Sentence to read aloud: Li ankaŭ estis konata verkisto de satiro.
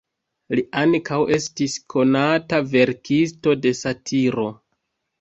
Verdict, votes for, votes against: accepted, 2, 0